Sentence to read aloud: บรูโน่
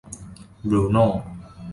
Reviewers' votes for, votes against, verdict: 2, 0, accepted